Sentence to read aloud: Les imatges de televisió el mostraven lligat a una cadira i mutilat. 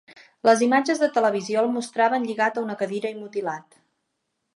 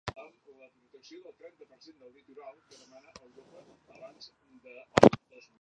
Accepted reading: first